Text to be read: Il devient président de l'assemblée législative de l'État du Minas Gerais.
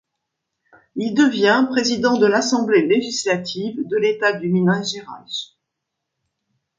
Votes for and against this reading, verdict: 0, 2, rejected